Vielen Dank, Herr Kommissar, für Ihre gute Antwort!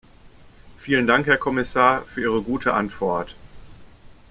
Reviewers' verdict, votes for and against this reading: accepted, 2, 0